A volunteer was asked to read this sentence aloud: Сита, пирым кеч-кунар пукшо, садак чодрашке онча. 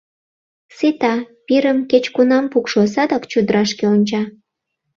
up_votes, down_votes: 0, 2